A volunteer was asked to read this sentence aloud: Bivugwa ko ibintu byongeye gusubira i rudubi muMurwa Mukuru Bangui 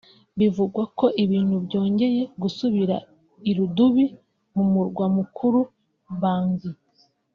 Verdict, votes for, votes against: accepted, 2, 0